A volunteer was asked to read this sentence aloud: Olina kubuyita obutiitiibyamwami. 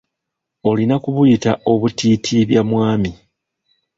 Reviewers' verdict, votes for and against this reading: accepted, 3, 1